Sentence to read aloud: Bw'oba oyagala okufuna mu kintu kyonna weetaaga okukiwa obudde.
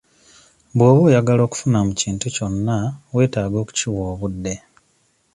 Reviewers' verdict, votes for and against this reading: accepted, 2, 0